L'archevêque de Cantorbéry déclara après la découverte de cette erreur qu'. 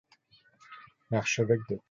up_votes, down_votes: 0, 2